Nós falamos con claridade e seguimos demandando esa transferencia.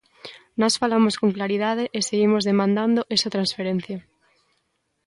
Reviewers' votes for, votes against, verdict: 2, 0, accepted